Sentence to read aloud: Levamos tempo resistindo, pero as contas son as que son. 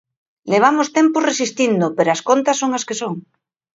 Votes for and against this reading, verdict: 2, 0, accepted